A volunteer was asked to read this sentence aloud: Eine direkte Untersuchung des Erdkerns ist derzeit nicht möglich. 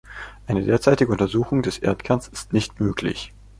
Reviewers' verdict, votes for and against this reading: rejected, 0, 2